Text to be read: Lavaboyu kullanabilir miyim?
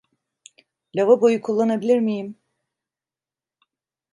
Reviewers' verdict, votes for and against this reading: accepted, 2, 0